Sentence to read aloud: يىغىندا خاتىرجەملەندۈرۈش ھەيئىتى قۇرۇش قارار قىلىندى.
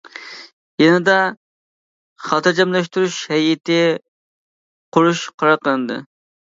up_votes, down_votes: 0, 2